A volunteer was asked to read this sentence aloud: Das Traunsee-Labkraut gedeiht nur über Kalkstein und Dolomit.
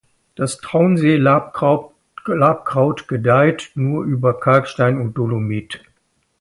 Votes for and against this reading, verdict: 0, 2, rejected